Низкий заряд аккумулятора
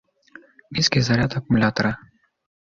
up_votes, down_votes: 2, 0